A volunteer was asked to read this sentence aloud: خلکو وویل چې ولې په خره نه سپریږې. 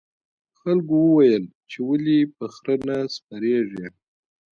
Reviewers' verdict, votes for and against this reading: accepted, 2, 0